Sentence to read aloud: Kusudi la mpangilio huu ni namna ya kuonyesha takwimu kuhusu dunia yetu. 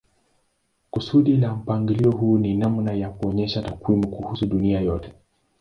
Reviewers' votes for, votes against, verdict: 3, 3, rejected